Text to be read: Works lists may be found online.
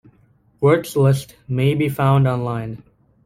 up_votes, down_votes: 2, 0